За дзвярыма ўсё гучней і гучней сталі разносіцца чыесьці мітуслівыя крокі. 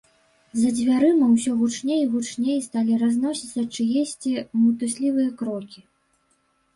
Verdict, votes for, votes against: accepted, 2, 0